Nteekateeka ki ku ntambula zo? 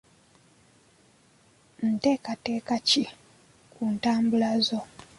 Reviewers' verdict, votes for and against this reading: accepted, 2, 0